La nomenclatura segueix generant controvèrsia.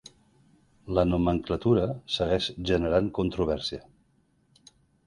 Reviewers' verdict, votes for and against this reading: accepted, 3, 0